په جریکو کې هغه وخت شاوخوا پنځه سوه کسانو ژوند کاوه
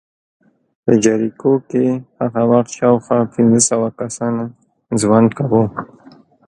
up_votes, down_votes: 2, 0